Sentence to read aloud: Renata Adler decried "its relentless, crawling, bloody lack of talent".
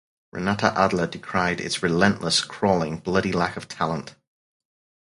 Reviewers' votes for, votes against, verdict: 4, 0, accepted